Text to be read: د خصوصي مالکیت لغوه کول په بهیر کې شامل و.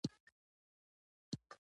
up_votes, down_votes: 0, 2